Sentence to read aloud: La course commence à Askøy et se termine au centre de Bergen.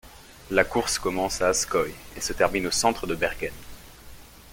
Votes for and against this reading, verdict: 2, 0, accepted